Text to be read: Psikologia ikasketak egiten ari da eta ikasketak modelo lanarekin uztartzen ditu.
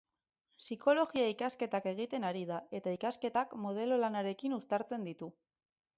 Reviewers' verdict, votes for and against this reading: rejected, 0, 2